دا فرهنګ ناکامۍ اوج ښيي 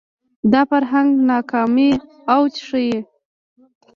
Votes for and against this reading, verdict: 1, 2, rejected